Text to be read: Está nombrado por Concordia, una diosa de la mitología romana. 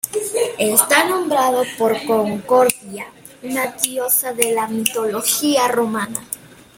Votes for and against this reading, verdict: 2, 0, accepted